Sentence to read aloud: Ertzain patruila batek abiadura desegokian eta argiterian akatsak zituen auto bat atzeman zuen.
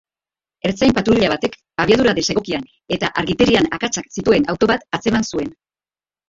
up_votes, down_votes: 0, 2